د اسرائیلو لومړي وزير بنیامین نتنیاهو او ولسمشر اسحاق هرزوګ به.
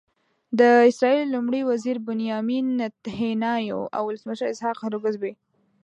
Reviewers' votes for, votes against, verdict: 1, 2, rejected